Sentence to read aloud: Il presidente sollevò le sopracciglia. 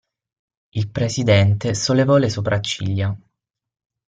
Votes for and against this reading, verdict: 6, 0, accepted